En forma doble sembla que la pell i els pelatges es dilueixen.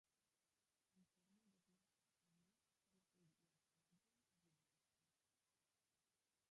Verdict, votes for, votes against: rejected, 0, 2